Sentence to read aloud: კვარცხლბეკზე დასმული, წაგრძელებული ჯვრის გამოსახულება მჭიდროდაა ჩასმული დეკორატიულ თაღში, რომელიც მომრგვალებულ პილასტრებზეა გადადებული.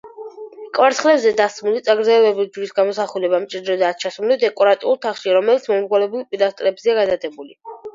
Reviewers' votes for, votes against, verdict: 2, 4, rejected